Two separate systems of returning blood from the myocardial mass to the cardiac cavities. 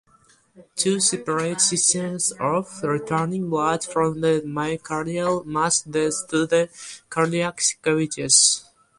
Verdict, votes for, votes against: rejected, 0, 2